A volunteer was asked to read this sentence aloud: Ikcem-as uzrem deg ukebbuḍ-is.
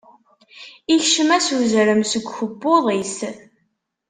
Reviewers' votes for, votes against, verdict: 1, 2, rejected